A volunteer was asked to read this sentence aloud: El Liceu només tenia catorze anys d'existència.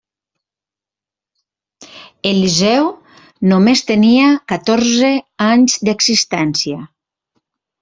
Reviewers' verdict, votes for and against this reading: rejected, 0, 2